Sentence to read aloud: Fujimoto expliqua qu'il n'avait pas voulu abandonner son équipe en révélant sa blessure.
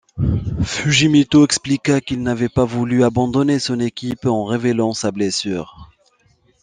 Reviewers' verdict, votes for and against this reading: accepted, 2, 0